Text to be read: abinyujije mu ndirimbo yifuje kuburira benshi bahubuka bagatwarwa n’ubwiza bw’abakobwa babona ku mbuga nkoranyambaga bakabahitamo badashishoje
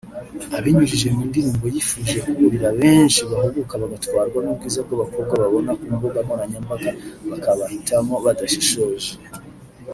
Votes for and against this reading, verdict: 1, 2, rejected